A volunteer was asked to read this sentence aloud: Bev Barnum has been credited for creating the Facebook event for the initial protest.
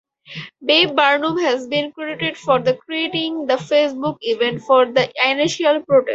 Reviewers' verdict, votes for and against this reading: accepted, 2, 0